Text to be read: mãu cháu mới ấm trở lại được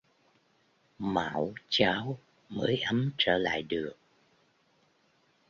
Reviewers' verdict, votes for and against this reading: rejected, 0, 2